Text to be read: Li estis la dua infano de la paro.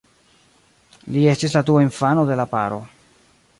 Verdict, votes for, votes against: accepted, 2, 0